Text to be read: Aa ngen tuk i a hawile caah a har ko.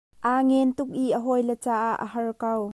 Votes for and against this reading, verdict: 2, 0, accepted